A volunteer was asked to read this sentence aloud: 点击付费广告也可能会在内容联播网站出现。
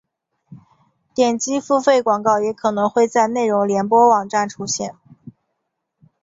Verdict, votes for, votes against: accepted, 4, 0